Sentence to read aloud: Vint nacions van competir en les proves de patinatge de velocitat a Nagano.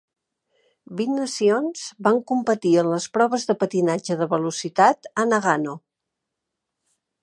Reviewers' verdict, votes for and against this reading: accepted, 2, 0